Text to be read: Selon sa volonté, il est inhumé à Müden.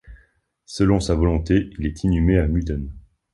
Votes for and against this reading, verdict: 2, 0, accepted